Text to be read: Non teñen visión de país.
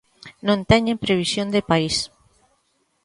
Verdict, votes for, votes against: rejected, 0, 2